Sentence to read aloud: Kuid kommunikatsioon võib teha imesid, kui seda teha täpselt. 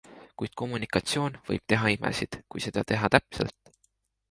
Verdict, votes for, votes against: accepted, 2, 0